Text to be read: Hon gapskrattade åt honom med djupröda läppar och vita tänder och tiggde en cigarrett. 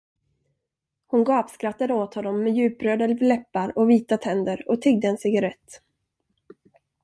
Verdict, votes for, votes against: rejected, 1, 2